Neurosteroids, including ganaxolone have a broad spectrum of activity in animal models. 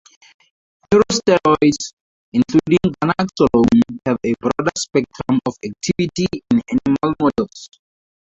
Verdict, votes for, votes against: accepted, 2, 0